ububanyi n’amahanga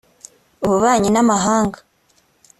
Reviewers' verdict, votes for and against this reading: accepted, 2, 0